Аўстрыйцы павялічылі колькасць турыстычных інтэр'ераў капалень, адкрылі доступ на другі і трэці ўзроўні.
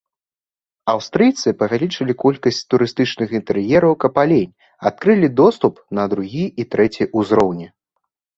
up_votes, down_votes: 2, 1